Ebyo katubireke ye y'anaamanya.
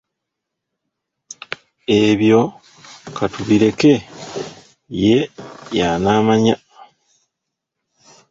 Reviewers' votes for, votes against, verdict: 0, 2, rejected